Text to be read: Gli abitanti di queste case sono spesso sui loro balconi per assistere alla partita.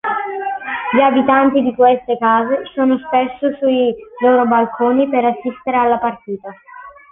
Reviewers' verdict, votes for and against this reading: accepted, 2, 0